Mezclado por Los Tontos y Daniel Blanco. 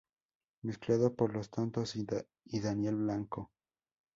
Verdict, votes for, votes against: accepted, 2, 0